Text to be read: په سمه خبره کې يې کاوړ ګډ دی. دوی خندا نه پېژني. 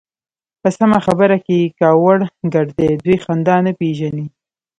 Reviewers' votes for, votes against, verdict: 1, 2, rejected